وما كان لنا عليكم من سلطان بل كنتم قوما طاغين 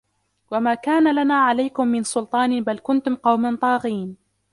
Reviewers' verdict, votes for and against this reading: accepted, 2, 0